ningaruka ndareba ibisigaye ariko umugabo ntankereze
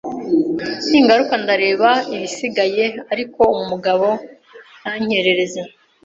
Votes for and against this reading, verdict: 2, 0, accepted